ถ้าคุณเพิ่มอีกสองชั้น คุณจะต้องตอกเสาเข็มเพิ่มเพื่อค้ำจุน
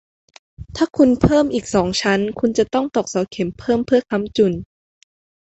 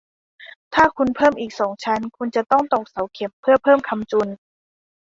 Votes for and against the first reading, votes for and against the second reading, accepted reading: 2, 0, 1, 2, first